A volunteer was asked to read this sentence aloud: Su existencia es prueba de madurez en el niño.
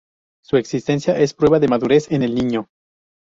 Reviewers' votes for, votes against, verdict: 0, 2, rejected